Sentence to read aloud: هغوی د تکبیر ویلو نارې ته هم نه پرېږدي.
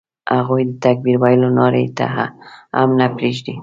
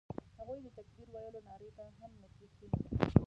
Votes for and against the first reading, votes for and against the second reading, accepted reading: 2, 0, 0, 2, first